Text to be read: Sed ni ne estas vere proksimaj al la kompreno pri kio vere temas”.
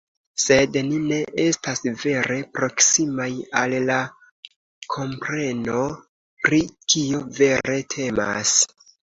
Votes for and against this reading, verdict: 2, 0, accepted